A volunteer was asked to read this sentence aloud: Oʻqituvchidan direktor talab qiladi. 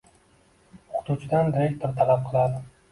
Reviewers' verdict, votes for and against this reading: rejected, 0, 2